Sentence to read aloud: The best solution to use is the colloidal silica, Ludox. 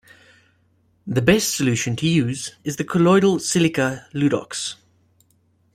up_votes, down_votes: 2, 0